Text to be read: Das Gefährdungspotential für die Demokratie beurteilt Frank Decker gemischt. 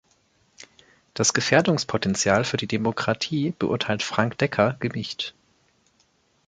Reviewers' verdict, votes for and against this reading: rejected, 1, 2